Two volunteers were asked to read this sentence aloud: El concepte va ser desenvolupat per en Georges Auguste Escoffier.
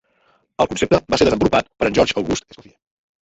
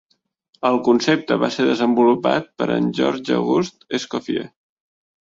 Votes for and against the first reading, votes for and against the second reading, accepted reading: 0, 3, 2, 0, second